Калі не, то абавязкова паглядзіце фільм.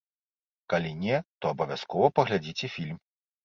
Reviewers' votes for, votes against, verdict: 2, 0, accepted